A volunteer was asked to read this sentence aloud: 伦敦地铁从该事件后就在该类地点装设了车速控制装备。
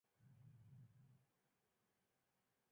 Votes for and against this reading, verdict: 1, 2, rejected